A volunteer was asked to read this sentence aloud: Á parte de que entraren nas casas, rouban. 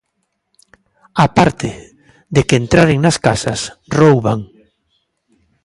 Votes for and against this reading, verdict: 2, 0, accepted